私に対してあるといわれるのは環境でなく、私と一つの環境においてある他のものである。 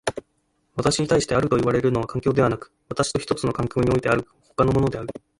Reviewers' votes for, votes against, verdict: 2, 1, accepted